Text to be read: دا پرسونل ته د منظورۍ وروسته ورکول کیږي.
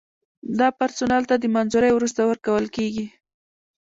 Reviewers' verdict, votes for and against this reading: rejected, 1, 2